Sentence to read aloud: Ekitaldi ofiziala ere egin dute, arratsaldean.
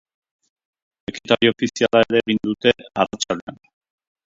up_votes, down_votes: 0, 2